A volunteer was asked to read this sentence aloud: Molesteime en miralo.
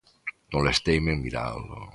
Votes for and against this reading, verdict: 2, 1, accepted